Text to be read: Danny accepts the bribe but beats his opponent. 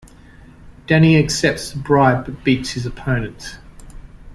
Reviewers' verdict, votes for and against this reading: accepted, 2, 0